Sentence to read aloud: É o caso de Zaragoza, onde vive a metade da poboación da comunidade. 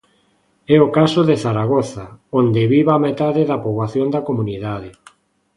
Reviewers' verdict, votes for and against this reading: accepted, 2, 0